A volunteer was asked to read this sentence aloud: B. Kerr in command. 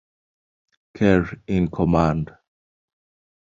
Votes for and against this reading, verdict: 0, 2, rejected